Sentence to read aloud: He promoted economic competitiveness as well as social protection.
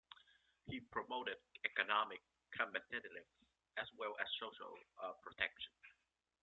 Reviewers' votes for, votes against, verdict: 0, 2, rejected